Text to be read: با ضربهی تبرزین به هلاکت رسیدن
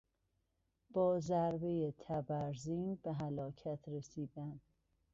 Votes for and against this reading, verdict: 1, 2, rejected